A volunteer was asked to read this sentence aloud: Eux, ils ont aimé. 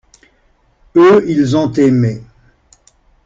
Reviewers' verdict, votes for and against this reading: accepted, 2, 0